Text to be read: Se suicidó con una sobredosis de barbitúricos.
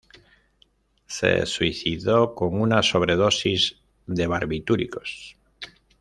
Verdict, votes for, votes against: accepted, 2, 1